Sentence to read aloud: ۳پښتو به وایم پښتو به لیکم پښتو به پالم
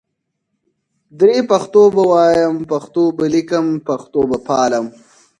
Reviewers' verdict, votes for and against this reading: rejected, 0, 2